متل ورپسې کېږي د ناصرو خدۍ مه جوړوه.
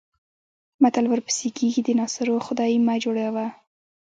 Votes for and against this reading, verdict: 2, 0, accepted